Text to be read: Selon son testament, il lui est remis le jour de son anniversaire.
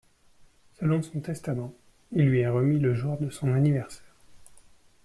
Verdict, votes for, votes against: accepted, 2, 1